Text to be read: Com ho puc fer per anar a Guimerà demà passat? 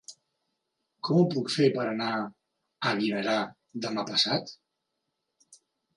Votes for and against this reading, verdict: 3, 0, accepted